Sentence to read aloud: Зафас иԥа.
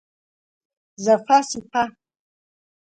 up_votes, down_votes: 2, 0